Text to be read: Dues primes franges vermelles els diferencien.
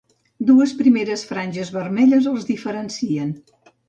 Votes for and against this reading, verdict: 2, 0, accepted